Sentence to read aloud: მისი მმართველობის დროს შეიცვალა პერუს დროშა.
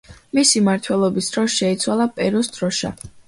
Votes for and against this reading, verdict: 2, 0, accepted